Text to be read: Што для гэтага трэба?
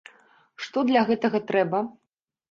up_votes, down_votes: 3, 0